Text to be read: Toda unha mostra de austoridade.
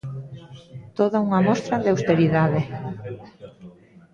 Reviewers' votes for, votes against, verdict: 0, 2, rejected